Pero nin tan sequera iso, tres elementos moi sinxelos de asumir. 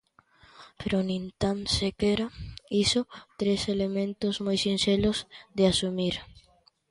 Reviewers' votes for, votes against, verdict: 2, 1, accepted